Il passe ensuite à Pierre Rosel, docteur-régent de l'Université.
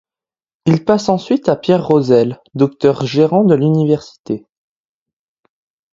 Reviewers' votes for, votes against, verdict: 1, 2, rejected